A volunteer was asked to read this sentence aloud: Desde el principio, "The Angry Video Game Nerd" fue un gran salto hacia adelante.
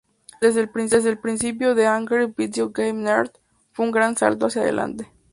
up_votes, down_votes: 2, 2